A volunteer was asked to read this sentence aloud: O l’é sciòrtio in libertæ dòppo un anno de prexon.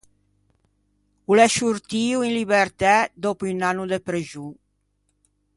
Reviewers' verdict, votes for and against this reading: rejected, 1, 2